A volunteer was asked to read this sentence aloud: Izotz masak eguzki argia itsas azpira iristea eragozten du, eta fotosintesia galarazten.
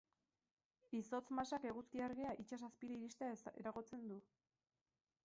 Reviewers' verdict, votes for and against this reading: rejected, 0, 8